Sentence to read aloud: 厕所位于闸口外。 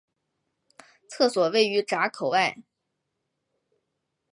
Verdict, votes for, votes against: accepted, 2, 0